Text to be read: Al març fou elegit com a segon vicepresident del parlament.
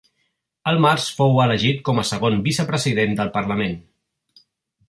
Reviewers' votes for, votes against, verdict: 1, 2, rejected